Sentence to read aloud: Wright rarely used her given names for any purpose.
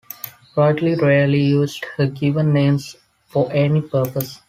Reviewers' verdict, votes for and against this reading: rejected, 1, 2